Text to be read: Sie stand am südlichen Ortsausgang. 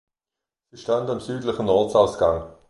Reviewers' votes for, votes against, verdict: 1, 2, rejected